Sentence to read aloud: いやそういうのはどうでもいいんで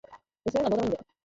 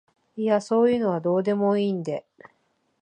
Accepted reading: second